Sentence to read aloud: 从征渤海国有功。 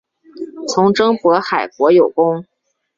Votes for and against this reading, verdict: 2, 1, accepted